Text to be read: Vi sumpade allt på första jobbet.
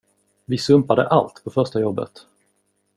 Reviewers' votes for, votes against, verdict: 2, 0, accepted